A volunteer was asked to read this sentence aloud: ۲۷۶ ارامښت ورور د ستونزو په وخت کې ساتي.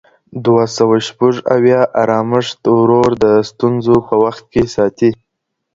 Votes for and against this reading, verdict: 0, 2, rejected